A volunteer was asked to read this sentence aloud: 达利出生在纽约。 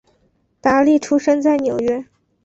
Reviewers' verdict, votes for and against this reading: accepted, 2, 0